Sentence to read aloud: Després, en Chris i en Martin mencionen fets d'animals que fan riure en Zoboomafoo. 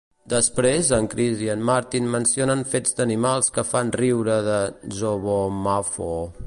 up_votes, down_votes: 1, 2